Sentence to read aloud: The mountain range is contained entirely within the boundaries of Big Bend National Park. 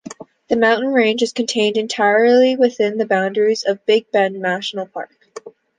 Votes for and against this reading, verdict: 2, 1, accepted